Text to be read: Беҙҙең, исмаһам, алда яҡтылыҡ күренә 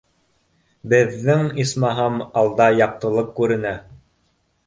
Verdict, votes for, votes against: accepted, 2, 0